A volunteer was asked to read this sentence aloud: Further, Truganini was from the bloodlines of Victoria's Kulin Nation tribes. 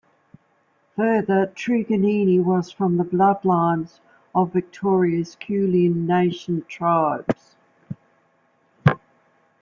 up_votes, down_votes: 2, 1